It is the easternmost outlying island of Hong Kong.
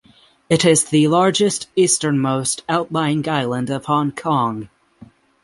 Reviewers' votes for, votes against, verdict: 6, 0, accepted